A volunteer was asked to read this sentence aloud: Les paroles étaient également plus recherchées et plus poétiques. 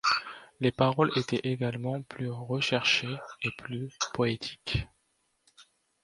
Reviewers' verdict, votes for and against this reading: accepted, 2, 0